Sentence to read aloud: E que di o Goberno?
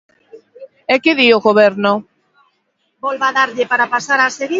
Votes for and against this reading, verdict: 0, 2, rejected